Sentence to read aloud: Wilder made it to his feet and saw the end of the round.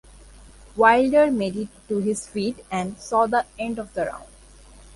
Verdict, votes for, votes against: rejected, 1, 2